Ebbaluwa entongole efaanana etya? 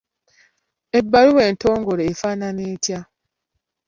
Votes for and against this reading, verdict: 2, 0, accepted